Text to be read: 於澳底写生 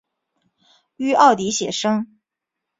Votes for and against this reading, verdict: 2, 1, accepted